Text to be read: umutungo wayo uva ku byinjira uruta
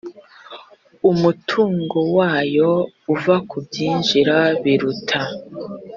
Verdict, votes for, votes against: rejected, 1, 2